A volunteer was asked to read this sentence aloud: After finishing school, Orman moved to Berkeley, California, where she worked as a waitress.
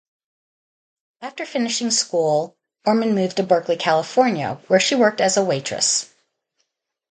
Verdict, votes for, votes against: accepted, 2, 0